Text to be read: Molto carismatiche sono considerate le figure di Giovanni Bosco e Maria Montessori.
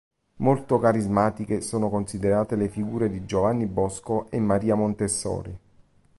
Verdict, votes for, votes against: accepted, 2, 1